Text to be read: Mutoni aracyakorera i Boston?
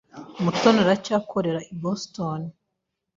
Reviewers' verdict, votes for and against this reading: accepted, 2, 0